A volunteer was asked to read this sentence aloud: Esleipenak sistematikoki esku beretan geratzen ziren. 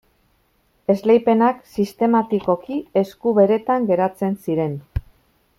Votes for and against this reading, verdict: 2, 0, accepted